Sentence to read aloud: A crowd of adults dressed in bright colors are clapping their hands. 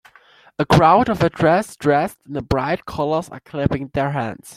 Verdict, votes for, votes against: rejected, 0, 2